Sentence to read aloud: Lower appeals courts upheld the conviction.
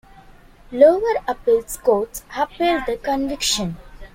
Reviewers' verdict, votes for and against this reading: accepted, 2, 0